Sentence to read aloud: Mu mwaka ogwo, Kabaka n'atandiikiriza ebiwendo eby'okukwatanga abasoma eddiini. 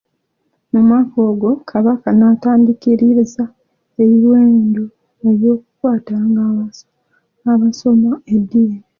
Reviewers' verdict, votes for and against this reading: rejected, 0, 2